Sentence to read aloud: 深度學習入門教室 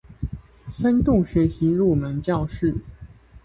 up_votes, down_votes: 2, 0